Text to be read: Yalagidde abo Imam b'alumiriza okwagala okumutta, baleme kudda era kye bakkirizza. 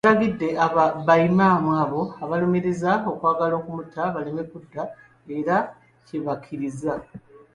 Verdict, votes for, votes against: rejected, 0, 2